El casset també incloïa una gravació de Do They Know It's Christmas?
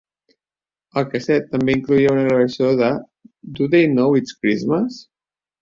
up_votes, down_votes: 2, 0